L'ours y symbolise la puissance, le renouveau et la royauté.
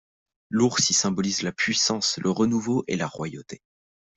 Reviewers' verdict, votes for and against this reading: accepted, 2, 0